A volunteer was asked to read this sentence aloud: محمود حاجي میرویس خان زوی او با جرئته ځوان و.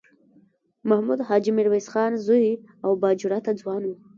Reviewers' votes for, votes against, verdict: 0, 2, rejected